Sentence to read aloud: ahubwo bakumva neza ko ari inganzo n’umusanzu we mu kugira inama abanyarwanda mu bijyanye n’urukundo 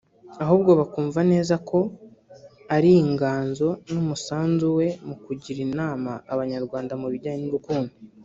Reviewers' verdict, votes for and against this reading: rejected, 0, 2